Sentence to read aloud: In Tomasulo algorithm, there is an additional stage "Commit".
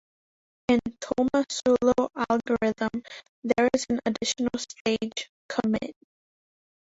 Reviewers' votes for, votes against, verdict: 1, 2, rejected